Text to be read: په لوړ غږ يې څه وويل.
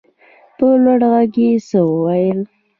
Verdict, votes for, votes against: accepted, 2, 0